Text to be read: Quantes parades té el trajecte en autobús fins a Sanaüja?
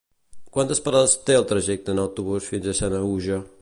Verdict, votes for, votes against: accepted, 3, 0